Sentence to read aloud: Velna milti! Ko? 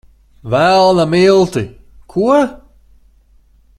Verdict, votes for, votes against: accepted, 2, 0